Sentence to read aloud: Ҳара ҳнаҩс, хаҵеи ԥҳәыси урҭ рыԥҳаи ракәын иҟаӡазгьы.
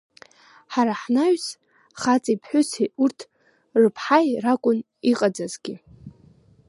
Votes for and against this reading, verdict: 1, 3, rejected